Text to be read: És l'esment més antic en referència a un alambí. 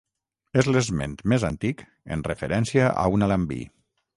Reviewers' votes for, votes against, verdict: 3, 3, rejected